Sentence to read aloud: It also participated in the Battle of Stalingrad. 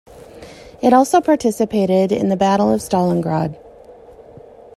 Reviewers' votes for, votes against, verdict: 2, 0, accepted